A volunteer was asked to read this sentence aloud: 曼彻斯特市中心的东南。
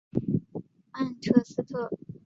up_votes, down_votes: 1, 2